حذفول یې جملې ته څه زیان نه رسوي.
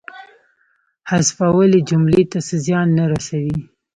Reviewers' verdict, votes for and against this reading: accepted, 2, 0